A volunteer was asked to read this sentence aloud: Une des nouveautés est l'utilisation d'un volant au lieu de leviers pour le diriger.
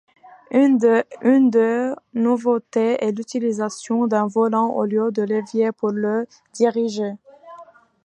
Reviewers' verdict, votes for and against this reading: rejected, 1, 2